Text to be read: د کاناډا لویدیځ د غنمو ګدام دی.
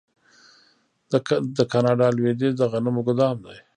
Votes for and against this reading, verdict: 1, 2, rejected